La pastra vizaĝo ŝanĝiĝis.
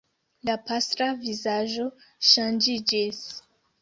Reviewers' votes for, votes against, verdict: 2, 1, accepted